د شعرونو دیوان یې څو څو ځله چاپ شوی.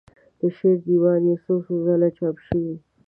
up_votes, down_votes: 0, 2